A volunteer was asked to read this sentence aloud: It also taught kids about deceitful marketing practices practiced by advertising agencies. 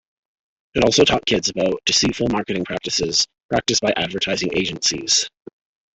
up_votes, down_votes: 1, 2